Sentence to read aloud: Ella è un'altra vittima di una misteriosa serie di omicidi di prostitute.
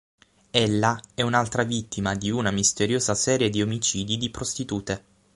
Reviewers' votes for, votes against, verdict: 6, 3, accepted